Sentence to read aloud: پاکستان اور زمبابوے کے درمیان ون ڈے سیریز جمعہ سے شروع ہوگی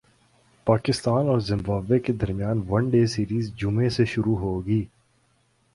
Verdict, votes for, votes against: accepted, 2, 1